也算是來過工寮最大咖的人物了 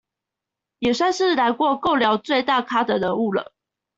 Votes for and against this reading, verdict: 1, 2, rejected